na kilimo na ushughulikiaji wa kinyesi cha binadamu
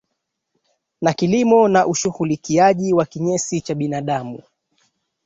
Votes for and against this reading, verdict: 2, 1, accepted